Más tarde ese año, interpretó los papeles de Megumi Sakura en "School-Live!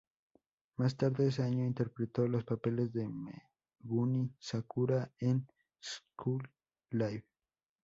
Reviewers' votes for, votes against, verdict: 2, 0, accepted